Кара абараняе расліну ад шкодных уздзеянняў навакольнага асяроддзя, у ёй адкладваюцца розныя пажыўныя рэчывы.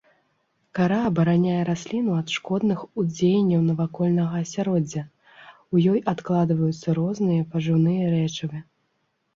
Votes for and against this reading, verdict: 2, 0, accepted